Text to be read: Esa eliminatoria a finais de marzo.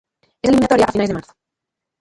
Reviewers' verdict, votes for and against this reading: rejected, 0, 2